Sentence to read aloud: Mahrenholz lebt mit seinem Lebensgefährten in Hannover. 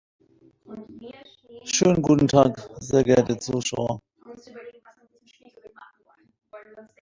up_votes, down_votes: 0, 2